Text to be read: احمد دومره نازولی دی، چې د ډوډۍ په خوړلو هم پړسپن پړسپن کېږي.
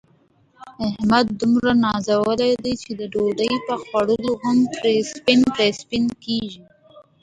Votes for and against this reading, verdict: 2, 0, accepted